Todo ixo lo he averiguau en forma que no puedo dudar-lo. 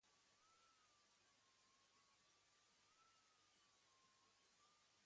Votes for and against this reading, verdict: 1, 2, rejected